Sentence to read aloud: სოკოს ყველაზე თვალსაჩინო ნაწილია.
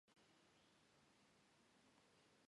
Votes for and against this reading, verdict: 0, 2, rejected